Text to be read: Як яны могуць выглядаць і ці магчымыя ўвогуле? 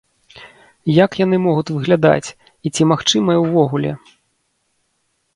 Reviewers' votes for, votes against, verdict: 0, 2, rejected